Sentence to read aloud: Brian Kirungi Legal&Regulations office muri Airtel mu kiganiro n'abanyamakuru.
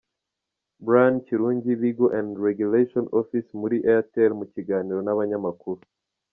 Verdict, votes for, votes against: accepted, 2, 1